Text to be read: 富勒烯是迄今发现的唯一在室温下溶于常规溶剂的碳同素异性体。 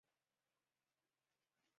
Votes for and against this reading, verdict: 3, 0, accepted